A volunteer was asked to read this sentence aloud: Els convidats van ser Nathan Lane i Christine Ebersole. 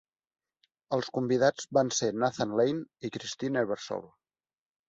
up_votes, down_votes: 2, 0